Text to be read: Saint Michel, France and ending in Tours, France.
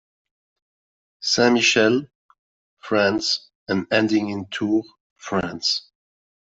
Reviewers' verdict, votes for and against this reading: rejected, 0, 2